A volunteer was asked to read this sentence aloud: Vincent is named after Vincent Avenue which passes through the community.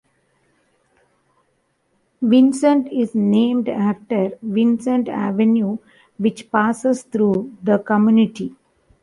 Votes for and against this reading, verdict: 2, 0, accepted